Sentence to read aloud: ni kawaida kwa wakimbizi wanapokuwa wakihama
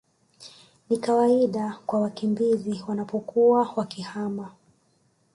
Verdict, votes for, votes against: accepted, 2, 0